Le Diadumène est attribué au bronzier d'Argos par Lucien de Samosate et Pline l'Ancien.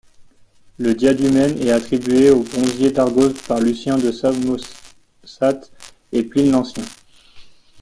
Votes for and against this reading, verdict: 2, 0, accepted